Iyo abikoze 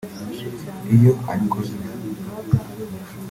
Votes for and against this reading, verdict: 1, 2, rejected